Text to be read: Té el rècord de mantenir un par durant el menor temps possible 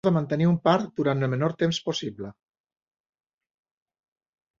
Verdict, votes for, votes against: rejected, 1, 2